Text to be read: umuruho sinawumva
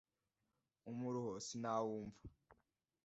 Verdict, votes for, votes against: accepted, 2, 0